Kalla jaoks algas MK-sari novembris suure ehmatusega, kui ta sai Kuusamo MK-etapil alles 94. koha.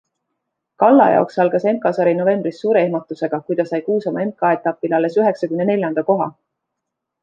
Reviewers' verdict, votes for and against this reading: rejected, 0, 2